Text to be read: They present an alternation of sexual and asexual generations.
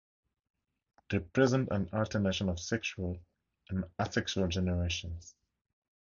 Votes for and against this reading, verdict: 4, 0, accepted